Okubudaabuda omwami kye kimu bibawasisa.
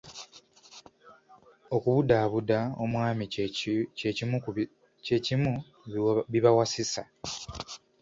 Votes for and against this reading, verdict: 1, 2, rejected